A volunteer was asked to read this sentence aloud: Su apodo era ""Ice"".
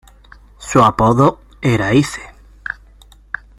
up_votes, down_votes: 0, 2